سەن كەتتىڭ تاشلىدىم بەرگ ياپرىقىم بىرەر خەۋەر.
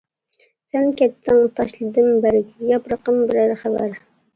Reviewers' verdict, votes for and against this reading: rejected, 0, 2